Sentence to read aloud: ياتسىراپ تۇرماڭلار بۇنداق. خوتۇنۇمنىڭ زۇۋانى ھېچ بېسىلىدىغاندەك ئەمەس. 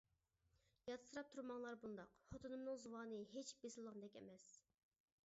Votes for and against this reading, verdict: 0, 2, rejected